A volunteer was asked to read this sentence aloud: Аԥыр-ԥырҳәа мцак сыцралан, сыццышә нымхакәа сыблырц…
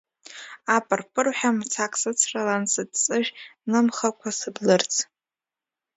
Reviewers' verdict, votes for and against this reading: rejected, 1, 2